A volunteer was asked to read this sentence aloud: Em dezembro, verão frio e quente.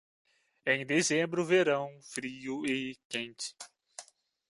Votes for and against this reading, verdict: 1, 2, rejected